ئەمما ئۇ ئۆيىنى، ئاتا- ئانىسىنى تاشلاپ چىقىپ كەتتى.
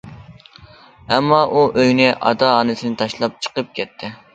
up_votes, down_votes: 2, 0